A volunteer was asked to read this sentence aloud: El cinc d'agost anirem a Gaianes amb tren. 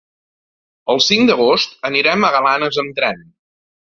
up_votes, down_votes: 1, 2